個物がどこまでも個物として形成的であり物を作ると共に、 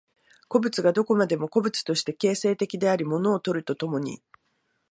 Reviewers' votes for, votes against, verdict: 2, 1, accepted